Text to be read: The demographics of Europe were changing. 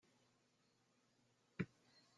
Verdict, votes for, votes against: rejected, 0, 2